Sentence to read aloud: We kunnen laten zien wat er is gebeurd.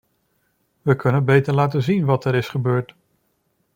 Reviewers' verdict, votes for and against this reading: rejected, 0, 2